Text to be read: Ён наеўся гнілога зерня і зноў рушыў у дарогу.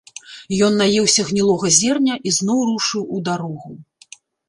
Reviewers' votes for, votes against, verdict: 2, 0, accepted